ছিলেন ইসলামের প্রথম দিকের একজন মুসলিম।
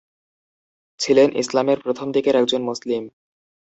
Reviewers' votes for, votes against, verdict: 6, 0, accepted